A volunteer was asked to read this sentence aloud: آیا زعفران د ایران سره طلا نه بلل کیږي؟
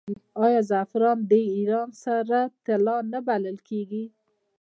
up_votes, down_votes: 2, 1